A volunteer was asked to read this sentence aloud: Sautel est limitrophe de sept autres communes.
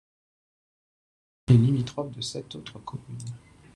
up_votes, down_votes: 0, 2